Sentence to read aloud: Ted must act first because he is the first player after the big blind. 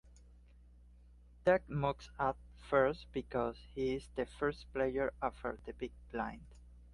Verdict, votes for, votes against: accepted, 2, 1